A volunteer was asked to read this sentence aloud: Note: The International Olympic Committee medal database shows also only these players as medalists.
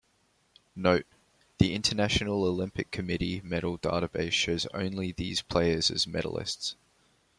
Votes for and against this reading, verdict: 1, 2, rejected